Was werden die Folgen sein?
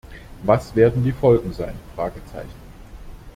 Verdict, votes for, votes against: rejected, 0, 2